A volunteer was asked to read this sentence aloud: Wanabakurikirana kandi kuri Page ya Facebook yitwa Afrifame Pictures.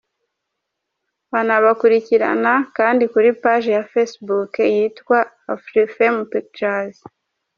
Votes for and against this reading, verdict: 2, 0, accepted